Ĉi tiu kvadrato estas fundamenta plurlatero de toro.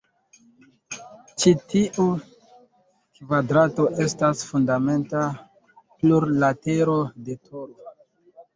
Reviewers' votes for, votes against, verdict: 2, 1, accepted